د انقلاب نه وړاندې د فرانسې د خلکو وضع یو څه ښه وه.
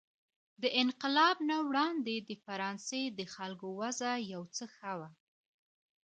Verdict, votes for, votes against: accepted, 2, 1